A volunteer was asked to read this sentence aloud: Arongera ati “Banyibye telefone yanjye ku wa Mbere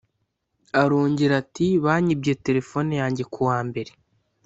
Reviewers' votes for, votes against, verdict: 2, 0, accepted